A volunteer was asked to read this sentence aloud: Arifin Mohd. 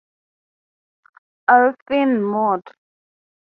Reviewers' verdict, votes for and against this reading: accepted, 2, 0